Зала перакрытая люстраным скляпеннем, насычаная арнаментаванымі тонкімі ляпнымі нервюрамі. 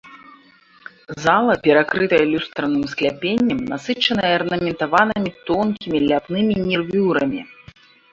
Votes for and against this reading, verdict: 2, 1, accepted